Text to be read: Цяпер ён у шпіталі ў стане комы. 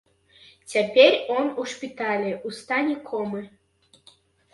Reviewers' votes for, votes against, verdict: 0, 2, rejected